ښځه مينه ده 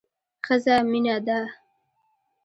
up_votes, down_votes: 2, 0